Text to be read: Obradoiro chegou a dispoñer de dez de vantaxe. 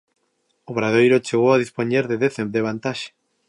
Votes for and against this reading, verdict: 1, 2, rejected